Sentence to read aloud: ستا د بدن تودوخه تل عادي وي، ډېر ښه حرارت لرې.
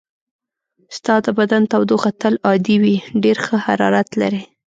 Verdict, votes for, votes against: accepted, 2, 0